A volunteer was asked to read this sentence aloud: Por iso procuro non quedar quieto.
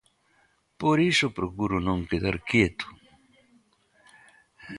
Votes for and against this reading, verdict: 2, 0, accepted